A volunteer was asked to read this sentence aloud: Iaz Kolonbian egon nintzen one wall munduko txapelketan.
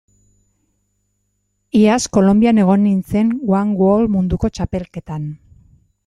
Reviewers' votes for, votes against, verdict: 2, 0, accepted